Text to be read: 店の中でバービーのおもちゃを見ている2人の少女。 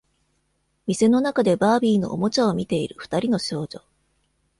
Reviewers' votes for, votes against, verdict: 0, 2, rejected